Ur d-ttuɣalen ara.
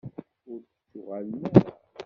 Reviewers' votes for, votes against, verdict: 0, 2, rejected